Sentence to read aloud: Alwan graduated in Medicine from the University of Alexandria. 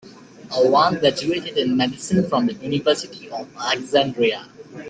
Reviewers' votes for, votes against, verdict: 2, 0, accepted